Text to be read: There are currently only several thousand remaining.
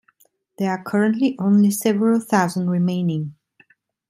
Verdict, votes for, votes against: accepted, 2, 0